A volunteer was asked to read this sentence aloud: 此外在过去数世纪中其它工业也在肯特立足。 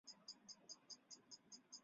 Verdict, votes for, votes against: rejected, 0, 2